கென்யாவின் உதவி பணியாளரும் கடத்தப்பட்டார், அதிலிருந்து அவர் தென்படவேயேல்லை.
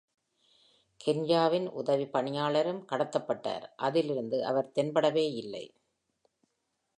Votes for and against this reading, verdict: 2, 0, accepted